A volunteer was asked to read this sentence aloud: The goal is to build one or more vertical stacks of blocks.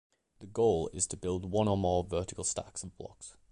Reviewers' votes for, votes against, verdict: 2, 0, accepted